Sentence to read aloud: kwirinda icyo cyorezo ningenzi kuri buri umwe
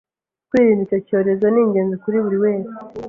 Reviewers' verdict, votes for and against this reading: accepted, 2, 1